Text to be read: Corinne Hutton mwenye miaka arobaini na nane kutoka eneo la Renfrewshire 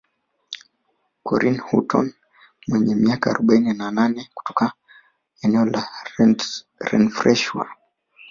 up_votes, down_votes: 1, 2